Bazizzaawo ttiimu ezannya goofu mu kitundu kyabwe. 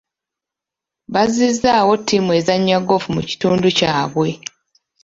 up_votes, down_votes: 2, 0